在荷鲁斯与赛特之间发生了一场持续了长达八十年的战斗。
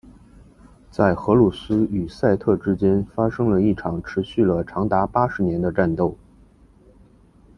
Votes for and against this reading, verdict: 2, 0, accepted